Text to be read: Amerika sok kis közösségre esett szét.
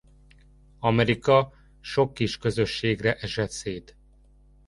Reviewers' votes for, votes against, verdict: 2, 0, accepted